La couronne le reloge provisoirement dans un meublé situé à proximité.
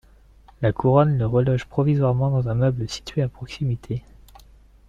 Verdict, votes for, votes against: accepted, 2, 1